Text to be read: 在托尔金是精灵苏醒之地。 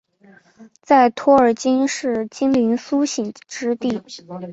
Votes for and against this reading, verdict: 0, 2, rejected